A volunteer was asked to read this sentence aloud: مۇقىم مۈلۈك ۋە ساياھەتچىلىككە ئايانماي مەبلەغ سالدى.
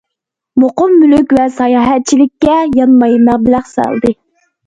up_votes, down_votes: 1, 2